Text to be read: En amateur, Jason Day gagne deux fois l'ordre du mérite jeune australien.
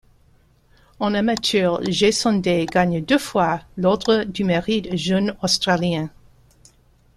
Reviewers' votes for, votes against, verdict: 1, 2, rejected